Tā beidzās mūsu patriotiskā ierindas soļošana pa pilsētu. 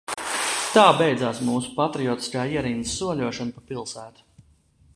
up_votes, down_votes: 1, 2